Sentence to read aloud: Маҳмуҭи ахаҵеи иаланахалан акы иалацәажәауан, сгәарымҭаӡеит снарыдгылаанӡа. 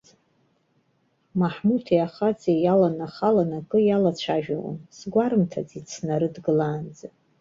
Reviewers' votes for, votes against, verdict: 2, 0, accepted